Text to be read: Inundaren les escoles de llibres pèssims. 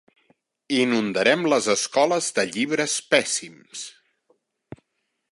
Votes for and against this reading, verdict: 0, 2, rejected